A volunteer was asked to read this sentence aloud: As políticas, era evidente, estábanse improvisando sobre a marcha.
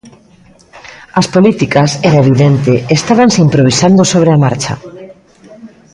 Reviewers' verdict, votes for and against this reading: rejected, 1, 2